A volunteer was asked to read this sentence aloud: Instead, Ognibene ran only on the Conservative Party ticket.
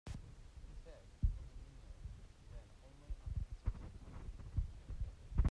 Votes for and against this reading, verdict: 0, 2, rejected